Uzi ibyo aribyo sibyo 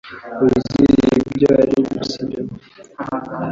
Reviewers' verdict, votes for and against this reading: rejected, 0, 2